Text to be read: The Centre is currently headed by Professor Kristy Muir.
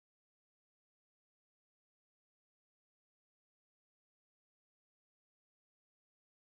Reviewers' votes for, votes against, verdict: 0, 2, rejected